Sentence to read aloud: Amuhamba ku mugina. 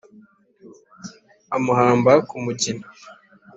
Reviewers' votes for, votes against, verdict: 2, 0, accepted